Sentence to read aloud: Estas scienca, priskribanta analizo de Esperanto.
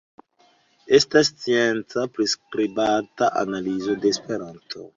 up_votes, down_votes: 1, 3